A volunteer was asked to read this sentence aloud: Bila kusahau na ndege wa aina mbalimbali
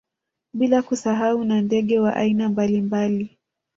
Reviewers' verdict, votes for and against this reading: rejected, 0, 2